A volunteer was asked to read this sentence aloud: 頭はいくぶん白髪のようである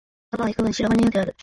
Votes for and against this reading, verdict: 0, 2, rejected